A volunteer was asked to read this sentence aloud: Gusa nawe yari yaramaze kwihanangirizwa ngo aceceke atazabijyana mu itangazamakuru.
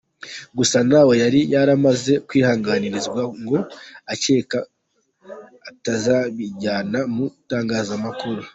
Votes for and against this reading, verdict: 0, 2, rejected